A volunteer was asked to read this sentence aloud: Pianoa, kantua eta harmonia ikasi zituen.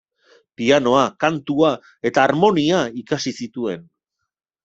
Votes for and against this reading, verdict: 2, 0, accepted